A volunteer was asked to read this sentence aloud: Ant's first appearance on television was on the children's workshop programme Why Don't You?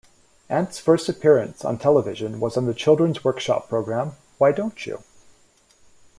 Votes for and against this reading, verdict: 2, 0, accepted